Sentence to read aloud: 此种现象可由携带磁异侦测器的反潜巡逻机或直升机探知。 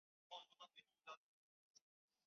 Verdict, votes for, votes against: rejected, 0, 2